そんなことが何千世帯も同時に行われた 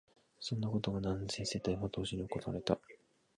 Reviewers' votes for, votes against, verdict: 0, 2, rejected